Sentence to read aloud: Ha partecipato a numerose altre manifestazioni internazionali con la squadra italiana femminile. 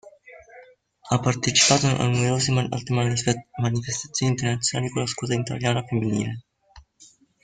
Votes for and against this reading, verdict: 0, 2, rejected